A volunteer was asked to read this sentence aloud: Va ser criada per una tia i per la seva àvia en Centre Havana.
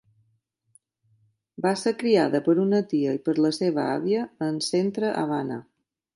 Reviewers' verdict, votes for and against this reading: accepted, 2, 0